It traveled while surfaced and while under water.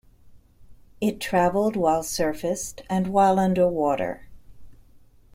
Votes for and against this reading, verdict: 2, 0, accepted